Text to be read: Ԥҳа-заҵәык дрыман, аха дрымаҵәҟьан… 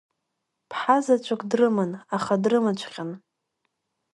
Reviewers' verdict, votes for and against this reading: accepted, 3, 1